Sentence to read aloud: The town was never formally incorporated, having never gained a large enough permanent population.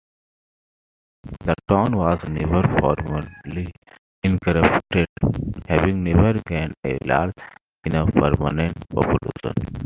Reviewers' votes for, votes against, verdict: 0, 2, rejected